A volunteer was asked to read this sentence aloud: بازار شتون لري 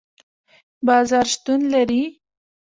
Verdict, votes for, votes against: accepted, 2, 1